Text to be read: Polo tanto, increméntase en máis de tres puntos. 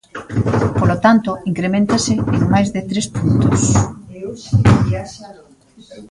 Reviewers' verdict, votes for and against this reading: accepted, 2, 0